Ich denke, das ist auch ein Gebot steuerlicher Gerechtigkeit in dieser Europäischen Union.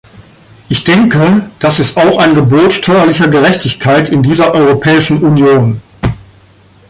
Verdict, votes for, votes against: accepted, 2, 1